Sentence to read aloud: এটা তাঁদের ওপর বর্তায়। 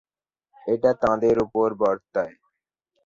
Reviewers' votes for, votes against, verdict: 0, 2, rejected